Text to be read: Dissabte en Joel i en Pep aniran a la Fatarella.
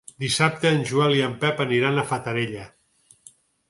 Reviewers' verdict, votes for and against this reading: rejected, 0, 6